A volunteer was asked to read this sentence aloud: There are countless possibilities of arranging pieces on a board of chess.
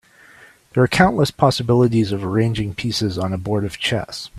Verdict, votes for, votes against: accepted, 3, 0